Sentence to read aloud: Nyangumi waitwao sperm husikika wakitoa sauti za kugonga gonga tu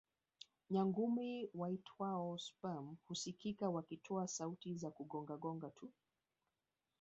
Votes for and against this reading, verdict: 1, 2, rejected